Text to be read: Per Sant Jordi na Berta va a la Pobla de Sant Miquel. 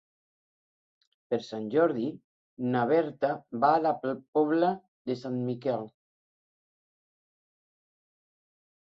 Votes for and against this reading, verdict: 3, 0, accepted